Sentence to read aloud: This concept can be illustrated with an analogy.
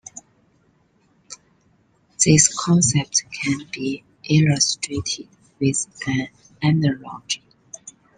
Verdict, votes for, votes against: rejected, 0, 2